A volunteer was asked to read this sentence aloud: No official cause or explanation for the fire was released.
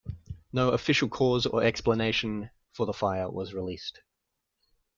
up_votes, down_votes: 2, 1